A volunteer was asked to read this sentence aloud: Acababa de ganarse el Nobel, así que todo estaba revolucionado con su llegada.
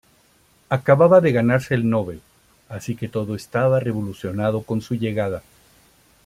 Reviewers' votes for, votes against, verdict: 2, 0, accepted